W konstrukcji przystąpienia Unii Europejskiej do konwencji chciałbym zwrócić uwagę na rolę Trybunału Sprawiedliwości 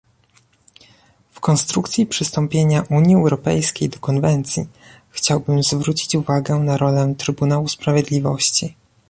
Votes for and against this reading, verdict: 2, 0, accepted